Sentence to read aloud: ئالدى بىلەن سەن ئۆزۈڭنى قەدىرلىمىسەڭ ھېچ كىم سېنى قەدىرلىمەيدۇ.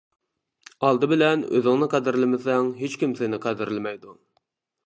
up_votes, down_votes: 0, 2